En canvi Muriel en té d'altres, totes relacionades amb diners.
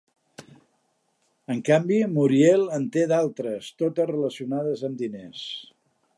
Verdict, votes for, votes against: accepted, 2, 0